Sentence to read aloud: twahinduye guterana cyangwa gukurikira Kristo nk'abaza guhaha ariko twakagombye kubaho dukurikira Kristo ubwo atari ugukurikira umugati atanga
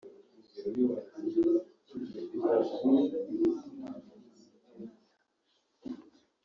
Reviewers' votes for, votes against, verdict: 1, 3, rejected